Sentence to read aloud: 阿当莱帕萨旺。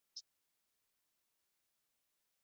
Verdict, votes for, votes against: rejected, 1, 2